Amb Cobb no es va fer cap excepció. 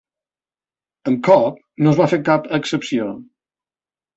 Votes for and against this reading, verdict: 3, 2, accepted